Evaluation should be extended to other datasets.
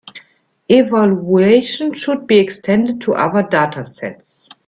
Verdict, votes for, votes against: accepted, 2, 1